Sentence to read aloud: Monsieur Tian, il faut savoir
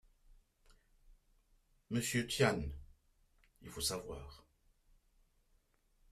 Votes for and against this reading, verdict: 1, 2, rejected